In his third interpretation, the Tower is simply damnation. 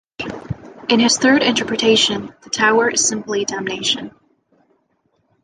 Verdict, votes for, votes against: accepted, 2, 0